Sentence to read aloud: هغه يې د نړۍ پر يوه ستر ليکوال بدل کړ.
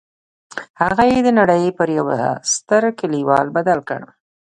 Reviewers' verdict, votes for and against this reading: rejected, 1, 2